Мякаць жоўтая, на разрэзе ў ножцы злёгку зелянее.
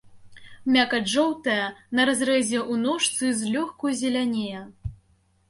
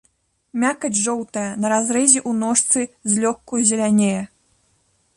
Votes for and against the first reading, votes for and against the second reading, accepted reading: 2, 0, 0, 2, first